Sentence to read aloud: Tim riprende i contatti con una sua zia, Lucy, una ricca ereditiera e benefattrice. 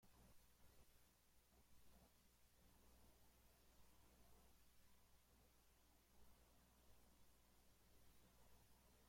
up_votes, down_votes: 0, 2